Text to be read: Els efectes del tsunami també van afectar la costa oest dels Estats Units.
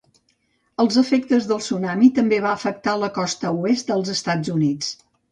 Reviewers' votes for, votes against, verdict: 0, 2, rejected